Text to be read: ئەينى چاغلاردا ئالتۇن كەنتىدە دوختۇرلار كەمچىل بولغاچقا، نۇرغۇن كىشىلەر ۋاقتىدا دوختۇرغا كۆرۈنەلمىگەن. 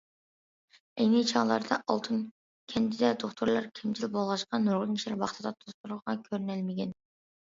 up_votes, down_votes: 1, 2